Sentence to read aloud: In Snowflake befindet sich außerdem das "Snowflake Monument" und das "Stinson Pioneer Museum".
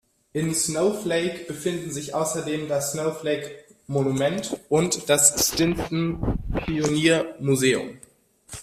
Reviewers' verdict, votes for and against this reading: rejected, 1, 2